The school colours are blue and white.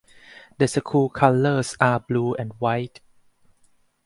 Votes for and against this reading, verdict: 0, 2, rejected